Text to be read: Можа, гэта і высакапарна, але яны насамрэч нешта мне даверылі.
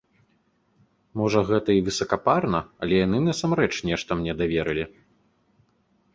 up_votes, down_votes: 2, 0